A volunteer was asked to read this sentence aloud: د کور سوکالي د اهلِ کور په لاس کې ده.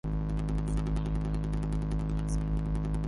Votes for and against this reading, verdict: 0, 2, rejected